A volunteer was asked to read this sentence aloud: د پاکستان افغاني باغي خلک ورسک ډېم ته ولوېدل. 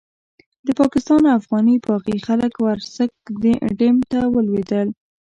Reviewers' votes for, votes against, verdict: 0, 2, rejected